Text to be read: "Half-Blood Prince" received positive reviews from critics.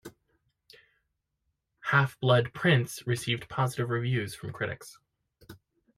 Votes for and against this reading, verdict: 2, 0, accepted